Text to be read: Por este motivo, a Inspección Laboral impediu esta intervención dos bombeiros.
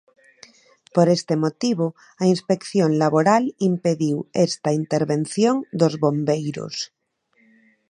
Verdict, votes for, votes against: accepted, 2, 0